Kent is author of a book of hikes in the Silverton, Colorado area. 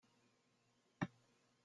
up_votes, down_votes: 0, 2